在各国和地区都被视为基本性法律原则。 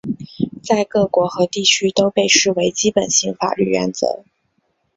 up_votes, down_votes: 3, 0